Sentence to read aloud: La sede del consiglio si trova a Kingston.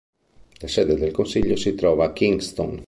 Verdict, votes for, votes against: accepted, 3, 0